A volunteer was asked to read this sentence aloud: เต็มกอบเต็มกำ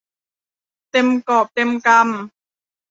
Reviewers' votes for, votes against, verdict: 2, 0, accepted